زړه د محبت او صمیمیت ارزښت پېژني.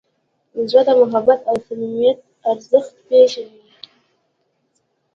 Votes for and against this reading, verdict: 0, 2, rejected